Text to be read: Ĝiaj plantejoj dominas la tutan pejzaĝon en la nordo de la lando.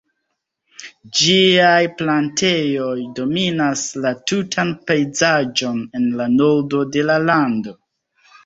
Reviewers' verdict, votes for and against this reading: accepted, 2, 0